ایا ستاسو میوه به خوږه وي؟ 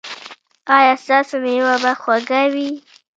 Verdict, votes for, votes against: rejected, 1, 2